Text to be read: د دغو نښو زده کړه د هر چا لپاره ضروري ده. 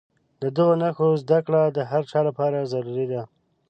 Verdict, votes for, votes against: accepted, 2, 0